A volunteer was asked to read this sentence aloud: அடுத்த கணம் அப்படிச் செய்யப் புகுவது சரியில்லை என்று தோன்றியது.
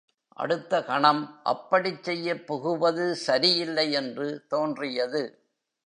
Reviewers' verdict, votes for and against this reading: accepted, 2, 0